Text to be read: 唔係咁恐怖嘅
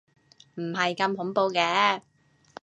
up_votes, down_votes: 2, 0